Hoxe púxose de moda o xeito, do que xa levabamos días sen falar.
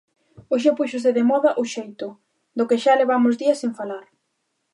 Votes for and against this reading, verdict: 1, 2, rejected